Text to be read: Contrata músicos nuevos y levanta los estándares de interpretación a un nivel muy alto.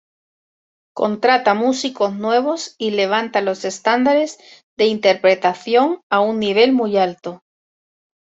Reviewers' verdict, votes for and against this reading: accepted, 2, 0